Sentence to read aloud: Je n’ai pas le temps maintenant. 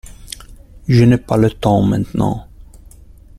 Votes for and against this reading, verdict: 1, 2, rejected